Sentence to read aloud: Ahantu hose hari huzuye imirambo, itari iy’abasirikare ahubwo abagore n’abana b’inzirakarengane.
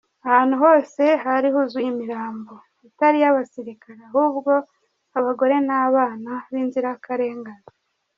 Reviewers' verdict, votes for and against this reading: rejected, 1, 2